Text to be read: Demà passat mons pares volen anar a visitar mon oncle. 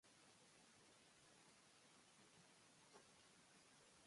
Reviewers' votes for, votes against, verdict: 0, 2, rejected